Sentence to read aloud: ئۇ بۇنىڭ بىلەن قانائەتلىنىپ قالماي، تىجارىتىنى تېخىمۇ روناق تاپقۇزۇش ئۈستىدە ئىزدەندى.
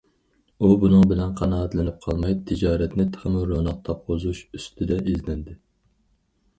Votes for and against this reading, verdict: 2, 2, rejected